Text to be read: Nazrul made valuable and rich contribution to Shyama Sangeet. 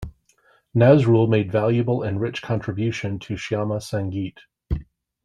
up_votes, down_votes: 2, 0